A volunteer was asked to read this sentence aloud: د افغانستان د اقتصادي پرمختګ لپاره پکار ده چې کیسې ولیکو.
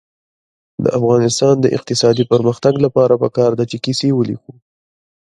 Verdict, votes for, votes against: rejected, 0, 2